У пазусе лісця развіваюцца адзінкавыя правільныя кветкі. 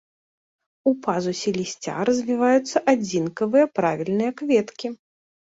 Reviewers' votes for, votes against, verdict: 0, 2, rejected